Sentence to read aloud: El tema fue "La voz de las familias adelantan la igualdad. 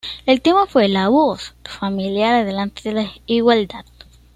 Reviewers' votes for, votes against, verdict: 1, 2, rejected